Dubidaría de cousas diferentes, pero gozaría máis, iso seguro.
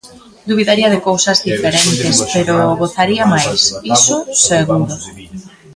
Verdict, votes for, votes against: rejected, 1, 2